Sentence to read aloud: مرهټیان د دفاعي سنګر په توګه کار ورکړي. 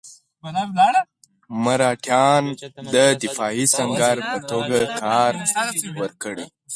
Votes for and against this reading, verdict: 2, 4, rejected